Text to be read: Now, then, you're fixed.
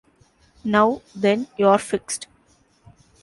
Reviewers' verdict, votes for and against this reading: accepted, 2, 0